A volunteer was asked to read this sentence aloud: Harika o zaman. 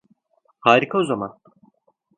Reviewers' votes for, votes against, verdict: 2, 0, accepted